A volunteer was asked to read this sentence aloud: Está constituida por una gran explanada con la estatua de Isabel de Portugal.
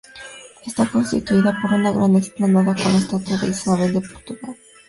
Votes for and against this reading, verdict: 0, 2, rejected